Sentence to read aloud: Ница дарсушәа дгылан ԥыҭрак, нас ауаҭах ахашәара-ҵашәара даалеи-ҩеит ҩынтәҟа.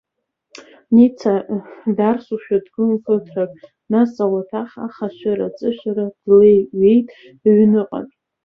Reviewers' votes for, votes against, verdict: 0, 2, rejected